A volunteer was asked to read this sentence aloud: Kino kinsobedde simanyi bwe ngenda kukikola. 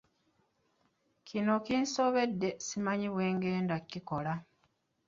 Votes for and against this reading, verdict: 1, 2, rejected